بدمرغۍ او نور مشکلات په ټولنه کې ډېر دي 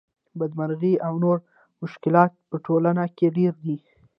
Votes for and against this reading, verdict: 1, 2, rejected